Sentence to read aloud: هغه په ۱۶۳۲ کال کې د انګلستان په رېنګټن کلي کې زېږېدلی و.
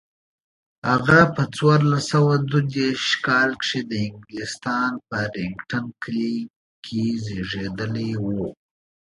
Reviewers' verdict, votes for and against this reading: rejected, 0, 2